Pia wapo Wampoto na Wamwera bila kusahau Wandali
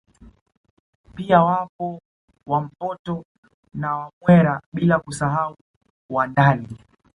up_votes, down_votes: 2, 0